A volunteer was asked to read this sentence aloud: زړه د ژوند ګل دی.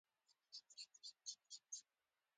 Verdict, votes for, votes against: accepted, 2, 0